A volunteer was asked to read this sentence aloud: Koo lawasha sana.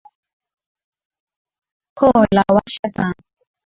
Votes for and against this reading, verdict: 5, 1, accepted